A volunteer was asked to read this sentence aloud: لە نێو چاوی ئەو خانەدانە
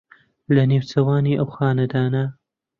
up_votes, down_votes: 1, 2